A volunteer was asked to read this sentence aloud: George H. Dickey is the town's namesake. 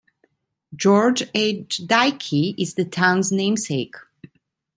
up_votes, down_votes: 2, 1